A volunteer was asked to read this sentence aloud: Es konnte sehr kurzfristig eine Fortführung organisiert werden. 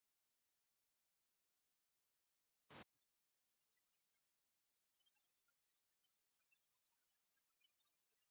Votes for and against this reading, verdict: 0, 2, rejected